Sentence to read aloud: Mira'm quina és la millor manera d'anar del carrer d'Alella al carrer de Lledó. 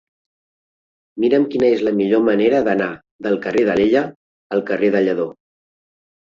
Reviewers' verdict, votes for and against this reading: accepted, 2, 0